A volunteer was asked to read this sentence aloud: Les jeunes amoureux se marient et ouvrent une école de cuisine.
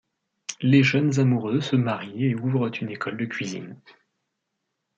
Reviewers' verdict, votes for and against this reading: accepted, 2, 0